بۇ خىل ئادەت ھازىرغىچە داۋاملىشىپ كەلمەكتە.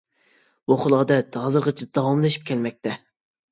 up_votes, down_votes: 2, 0